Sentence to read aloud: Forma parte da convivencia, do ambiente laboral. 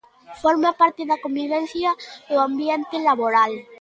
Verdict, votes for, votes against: accepted, 2, 0